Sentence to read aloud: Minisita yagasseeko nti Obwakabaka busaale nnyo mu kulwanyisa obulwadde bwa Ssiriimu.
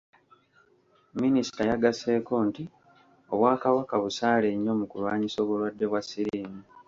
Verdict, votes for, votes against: rejected, 0, 2